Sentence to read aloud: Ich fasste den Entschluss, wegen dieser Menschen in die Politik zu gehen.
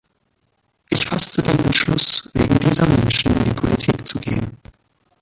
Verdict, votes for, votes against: rejected, 1, 2